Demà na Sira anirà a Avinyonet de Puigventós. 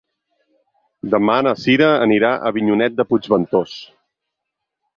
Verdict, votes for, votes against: accepted, 8, 0